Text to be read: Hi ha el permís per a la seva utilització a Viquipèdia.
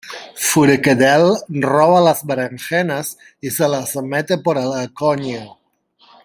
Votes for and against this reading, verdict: 0, 2, rejected